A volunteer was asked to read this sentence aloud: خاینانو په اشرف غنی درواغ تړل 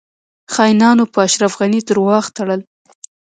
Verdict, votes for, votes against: accepted, 2, 0